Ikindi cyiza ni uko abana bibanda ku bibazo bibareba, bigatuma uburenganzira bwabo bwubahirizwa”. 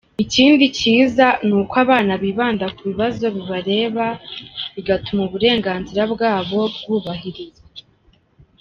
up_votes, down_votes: 2, 0